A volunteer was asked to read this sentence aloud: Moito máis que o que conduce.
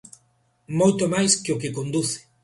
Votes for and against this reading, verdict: 2, 0, accepted